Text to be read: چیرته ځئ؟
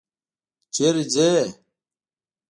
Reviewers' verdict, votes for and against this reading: accepted, 2, 0